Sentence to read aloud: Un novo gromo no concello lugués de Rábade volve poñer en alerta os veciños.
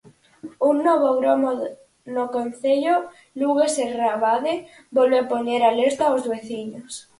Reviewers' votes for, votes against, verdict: 0, 4, rejected